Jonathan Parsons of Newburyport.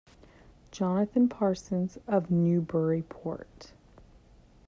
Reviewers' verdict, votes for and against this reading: accepted, 2, 0